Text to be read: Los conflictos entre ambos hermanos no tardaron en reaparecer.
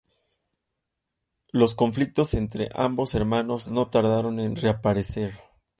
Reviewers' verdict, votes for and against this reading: accepted, 2, 0